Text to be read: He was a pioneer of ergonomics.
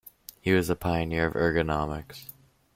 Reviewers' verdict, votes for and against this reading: accepted, 2, 0